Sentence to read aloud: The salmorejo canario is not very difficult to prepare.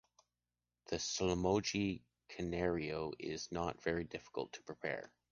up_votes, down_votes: 0, 2